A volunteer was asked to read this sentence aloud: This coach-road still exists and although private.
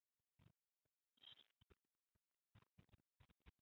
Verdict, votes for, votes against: rejected, 0, 2